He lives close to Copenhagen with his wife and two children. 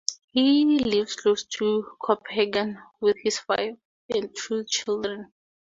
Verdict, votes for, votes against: rejected, 0, 2